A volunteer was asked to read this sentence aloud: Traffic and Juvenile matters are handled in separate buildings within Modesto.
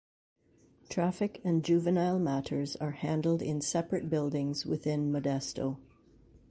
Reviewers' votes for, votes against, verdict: 2, 0, accepted